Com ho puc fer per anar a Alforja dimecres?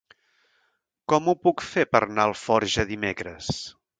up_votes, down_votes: 0, 2